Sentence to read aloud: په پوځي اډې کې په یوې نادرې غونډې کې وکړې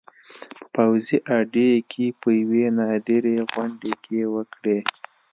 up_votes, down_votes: 2, 0